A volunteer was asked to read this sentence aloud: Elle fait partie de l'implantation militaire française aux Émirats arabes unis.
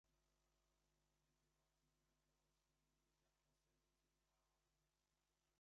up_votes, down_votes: 0, 2